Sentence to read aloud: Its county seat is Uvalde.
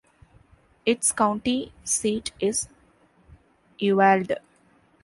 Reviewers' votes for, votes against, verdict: 0, 2, rejected